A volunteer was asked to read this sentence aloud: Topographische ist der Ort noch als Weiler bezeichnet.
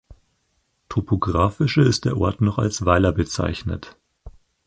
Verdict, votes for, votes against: accepted, 4, 0